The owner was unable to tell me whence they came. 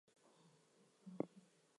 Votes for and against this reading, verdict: 0, 2, rejected